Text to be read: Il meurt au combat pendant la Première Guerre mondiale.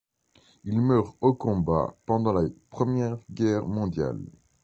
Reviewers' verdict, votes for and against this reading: accepted, 2, 0